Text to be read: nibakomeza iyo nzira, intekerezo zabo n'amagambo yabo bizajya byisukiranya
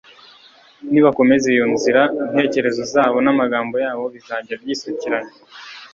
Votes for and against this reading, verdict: 2, 0, accepted